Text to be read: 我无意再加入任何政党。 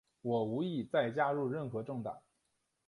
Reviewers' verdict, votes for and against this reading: accepted, 2, 0